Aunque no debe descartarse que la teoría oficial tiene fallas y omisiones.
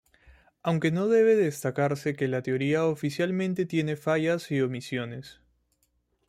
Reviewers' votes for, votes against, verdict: 1, 2, rejected